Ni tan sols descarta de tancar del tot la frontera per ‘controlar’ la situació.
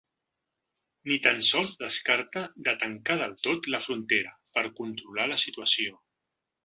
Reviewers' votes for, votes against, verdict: 2, 0, accepted